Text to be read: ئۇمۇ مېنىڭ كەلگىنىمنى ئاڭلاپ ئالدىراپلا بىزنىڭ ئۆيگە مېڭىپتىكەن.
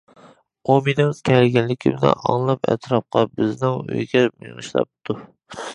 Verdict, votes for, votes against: rejected, 0, 2